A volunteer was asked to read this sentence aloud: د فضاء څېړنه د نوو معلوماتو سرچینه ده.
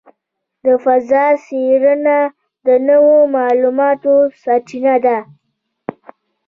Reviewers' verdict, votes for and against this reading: rejected, 0, 2